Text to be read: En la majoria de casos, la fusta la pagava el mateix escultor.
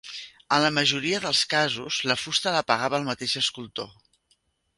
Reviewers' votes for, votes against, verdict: 0, 2, rejected